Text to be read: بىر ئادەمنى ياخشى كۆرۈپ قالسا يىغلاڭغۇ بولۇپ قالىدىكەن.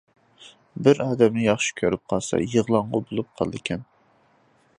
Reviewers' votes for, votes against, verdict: 2, 0, accepted